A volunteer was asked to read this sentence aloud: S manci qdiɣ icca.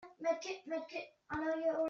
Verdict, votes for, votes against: rejected, 1, 2